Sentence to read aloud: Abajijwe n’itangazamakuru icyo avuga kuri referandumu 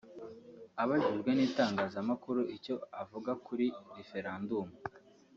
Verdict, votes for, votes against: accepted, 2, 1